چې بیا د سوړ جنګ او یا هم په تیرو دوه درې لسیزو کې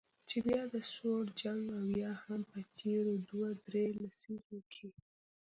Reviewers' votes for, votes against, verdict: 1, 2, rejected